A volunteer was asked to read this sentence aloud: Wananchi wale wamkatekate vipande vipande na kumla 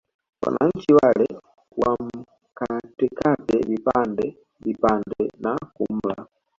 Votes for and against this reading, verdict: 1, 2, rejected